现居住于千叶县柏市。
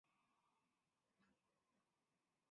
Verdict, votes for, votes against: rejected, 0, 2